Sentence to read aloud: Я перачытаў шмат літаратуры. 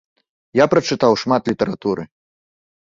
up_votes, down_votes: 0, 2